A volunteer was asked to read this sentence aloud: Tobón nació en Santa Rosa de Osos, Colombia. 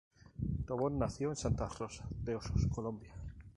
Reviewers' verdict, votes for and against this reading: rejected, 0, 2